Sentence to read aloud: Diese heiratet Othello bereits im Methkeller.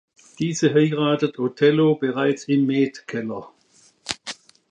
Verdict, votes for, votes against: accepted, 2, 0